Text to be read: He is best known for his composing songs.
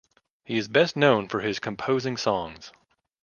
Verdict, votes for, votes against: accepted, 2, 0